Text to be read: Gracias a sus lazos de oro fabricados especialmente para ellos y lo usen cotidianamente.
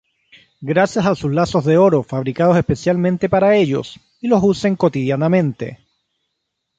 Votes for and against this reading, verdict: 3, 0, accepted